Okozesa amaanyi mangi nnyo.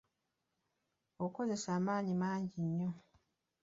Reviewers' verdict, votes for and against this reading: accepted, 2, 1